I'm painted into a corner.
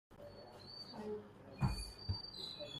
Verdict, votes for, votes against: rejected, 0, 2